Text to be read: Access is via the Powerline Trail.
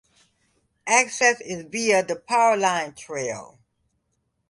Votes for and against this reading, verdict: 2, 1, accepted